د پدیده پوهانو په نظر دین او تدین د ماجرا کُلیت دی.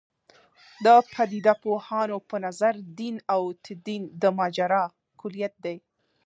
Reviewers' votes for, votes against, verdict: 0, 2, rejected